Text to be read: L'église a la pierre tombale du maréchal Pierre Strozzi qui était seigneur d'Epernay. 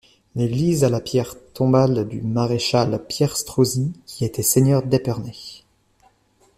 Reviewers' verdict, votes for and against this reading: rejected, 1, 2